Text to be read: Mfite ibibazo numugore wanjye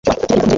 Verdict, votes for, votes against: rejected, 0, 2